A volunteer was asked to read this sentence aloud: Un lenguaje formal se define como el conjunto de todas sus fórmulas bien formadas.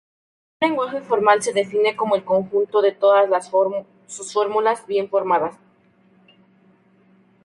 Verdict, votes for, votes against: rejected, 0, 2